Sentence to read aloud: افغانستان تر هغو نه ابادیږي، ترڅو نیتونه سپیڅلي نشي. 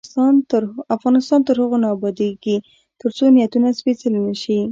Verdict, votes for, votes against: rejected, 1, 2